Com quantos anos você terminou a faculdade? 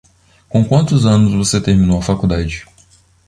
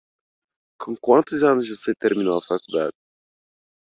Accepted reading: first